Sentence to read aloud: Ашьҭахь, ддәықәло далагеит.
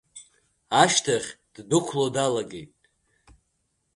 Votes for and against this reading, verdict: 2, 0, accepted